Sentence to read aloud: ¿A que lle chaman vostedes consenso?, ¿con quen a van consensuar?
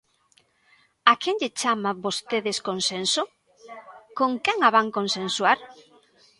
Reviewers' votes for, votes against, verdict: 1, 2, rejected